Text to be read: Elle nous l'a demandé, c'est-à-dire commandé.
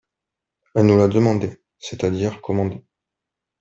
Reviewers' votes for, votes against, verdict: 1, 2, rejected